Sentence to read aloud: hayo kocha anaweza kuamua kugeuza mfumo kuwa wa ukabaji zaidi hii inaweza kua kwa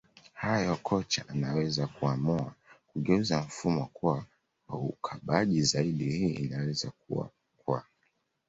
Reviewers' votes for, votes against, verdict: 1, 2, rejected